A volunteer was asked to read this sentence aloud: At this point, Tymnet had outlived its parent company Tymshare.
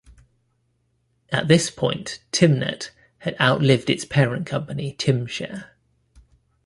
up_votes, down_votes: 2, 0